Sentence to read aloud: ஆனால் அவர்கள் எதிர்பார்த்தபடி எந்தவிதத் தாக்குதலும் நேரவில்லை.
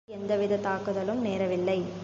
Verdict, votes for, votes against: rejected, 1, 3